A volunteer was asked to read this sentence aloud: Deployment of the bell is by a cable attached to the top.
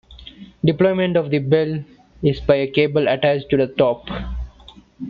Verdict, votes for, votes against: accepted, 2, 0